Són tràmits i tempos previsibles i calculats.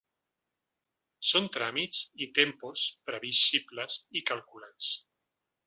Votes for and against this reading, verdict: 3, 0, accepted